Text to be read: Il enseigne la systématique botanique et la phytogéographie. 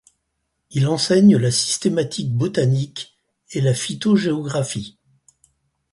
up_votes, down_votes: 4, 0